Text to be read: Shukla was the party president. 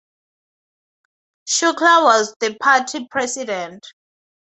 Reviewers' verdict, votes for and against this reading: accepted, 2, 0